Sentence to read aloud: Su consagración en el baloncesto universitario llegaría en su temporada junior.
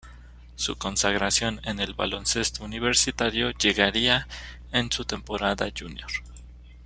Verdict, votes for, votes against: accepted, 2, 0